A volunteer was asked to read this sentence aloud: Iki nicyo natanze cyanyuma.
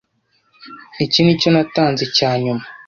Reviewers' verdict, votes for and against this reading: accepted, 2, 0